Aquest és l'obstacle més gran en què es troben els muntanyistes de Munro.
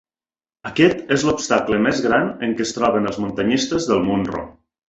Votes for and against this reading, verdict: 1, 2, rejected